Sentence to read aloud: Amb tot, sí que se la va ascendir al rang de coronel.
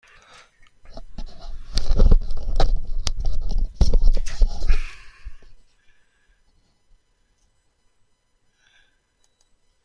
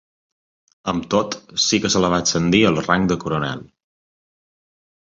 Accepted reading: second